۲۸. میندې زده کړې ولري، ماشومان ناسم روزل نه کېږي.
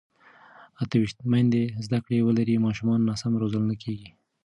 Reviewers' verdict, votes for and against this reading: rejected, 0, 2